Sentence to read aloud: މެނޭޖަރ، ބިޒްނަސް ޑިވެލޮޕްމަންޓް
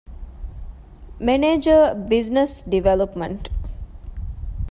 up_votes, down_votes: 2, 0